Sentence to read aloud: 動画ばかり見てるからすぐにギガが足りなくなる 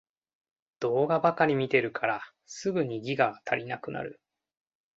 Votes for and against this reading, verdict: 2, 0, accepted